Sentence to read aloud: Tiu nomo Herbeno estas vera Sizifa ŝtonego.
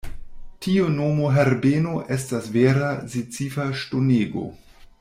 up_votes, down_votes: 1, 2